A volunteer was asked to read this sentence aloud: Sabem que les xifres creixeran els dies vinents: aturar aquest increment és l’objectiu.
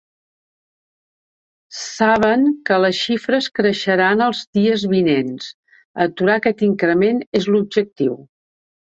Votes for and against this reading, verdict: 0, 2, rejected